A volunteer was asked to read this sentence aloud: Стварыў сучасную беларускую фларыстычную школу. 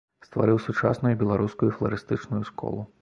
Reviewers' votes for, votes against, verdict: 2, 0, accepted